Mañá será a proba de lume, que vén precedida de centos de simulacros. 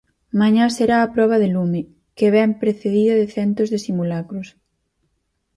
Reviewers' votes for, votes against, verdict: 4, 0, accepted